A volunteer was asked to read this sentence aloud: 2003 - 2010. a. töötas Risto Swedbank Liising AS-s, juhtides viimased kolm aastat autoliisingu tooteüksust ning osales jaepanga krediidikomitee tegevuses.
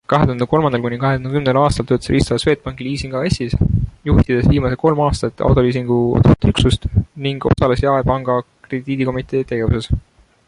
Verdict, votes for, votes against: rejected, 0, 2